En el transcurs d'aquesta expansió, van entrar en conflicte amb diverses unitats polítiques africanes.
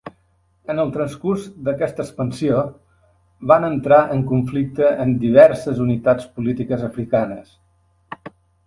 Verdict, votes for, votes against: accepted, 2, 0